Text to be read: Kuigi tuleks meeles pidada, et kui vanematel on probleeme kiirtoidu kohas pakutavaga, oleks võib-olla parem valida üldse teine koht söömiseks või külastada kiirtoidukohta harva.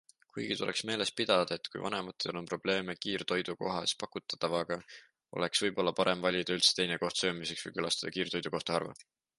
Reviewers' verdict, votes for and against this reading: accepted, 2, 0